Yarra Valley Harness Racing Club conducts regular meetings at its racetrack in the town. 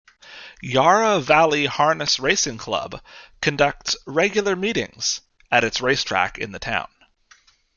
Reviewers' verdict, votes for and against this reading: accepted, 2, 0